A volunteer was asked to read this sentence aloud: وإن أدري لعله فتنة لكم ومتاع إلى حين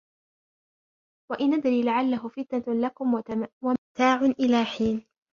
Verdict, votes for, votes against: rejected, 0, 2